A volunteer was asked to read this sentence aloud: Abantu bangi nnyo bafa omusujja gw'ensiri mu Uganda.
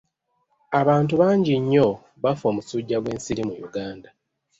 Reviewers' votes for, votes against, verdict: 1, 2, rejected